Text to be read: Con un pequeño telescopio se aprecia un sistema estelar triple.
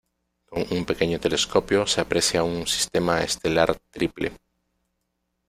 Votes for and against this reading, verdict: 1, 2, rejected